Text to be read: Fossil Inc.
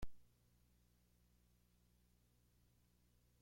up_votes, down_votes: 0, 2